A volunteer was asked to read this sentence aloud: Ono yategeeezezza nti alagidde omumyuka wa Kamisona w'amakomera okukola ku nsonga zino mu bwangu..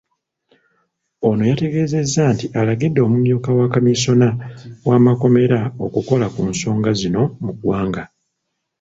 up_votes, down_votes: 0, 2